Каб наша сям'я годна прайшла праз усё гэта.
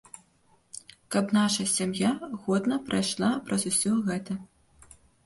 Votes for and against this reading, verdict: 2, 0, accepted